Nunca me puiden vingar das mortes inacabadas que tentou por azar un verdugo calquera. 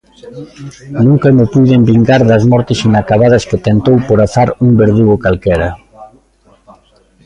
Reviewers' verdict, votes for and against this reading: rejected, 1, 2